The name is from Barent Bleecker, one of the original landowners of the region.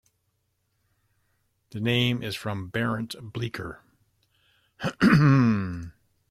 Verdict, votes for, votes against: rejected, 0, 2